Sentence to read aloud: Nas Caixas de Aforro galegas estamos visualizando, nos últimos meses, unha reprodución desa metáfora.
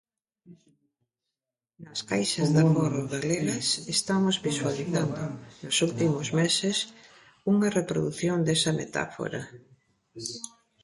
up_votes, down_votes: 1, 2